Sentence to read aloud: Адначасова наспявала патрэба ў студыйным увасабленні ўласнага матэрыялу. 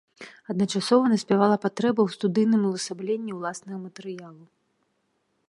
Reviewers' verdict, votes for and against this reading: accepted, 2, 1